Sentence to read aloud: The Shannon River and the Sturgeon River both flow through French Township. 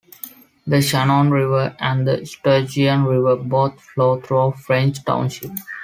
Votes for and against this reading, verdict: 2, 0, accepted